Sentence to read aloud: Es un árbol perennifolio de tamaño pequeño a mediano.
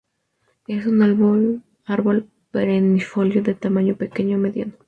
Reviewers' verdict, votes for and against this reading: rejected, 0, 2